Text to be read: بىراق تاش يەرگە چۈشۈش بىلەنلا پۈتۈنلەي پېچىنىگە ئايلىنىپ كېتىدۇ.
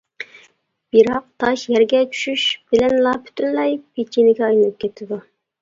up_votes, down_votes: 2, 0